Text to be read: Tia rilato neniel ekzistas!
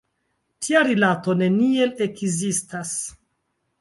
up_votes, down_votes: 2, 0